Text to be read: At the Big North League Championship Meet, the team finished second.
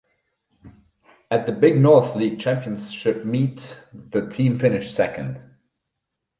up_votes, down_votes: 4, 0